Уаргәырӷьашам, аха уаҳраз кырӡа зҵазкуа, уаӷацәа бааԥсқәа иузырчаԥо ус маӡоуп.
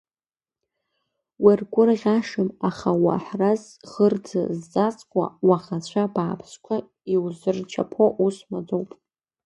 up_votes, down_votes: 2, 0